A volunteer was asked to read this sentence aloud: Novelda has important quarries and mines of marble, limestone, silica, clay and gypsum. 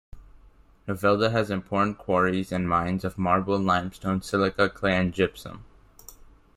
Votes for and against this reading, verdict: 1, 2, rejected